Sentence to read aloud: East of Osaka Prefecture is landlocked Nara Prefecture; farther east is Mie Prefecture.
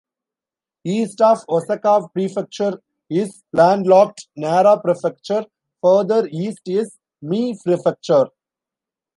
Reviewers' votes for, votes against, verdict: 0, 2, rejected